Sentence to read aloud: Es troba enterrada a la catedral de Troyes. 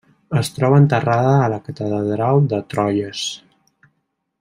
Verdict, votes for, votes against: accepted, 2, 0